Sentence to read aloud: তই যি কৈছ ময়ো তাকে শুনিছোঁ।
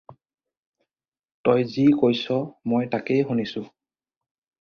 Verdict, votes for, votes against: rejected, 2, 4